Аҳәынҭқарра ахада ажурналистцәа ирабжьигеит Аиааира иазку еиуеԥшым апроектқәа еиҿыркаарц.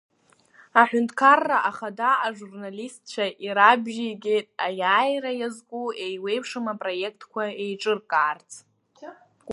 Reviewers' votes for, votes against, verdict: 2, 1, accepted